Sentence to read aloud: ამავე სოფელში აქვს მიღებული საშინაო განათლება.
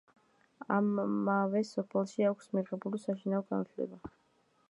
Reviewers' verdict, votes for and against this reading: rejected, 2, 3